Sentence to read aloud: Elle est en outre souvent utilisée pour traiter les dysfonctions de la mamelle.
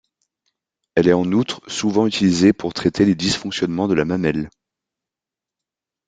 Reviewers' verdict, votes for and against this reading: rejected, 0, 2